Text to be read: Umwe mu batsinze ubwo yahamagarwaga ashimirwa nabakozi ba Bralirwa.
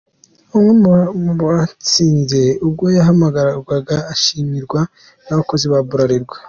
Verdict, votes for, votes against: accepted, 2, 0